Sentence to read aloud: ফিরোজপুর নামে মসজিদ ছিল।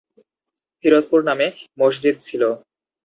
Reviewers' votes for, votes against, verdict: 2, 0, accepted